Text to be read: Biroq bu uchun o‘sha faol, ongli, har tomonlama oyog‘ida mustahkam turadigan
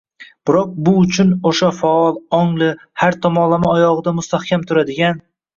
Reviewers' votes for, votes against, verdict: 1, 2, rejected